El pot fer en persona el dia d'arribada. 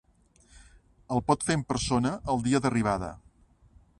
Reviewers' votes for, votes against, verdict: 3, 0, accepted